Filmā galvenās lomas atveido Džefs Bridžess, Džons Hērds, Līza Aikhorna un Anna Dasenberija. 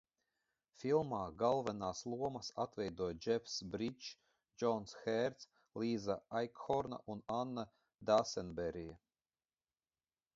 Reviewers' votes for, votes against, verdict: 0, 2, rejected